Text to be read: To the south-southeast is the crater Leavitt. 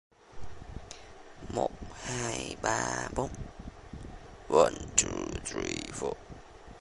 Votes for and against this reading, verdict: 0, 2, rejected